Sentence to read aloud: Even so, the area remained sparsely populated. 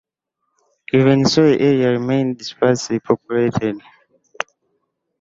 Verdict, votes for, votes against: rejected, 1, 2